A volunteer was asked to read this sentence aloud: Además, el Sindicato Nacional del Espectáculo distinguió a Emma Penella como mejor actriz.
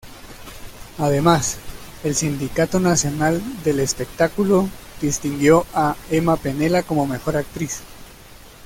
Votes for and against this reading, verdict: 1, 2, rejected